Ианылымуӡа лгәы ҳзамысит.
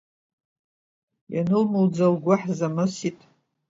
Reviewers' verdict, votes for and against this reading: accepted, 2, 0